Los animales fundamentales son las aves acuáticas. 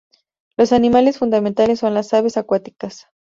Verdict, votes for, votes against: accepted, 2, 0